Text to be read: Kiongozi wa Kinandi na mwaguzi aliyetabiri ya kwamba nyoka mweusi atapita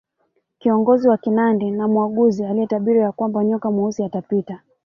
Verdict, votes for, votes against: accepted, 2, 0